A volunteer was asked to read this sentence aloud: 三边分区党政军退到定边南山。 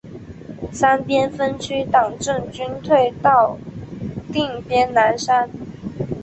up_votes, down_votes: 2, 0